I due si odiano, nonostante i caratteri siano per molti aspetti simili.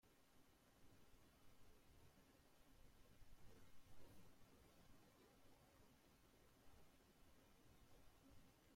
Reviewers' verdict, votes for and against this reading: rejected, 0, 2